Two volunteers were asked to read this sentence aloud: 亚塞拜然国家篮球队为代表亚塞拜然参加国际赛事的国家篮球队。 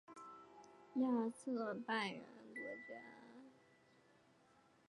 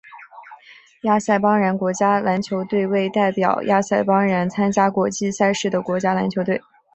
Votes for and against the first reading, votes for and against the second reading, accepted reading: 1, 5, 3, 1, second